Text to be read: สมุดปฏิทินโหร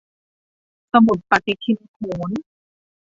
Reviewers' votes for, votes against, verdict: 2, 0, accepted